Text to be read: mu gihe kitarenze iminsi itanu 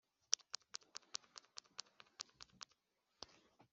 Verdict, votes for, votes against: rejected, 0, 2